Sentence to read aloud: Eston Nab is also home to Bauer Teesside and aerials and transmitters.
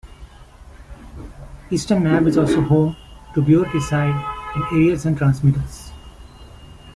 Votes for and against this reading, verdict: 0, 2, rejected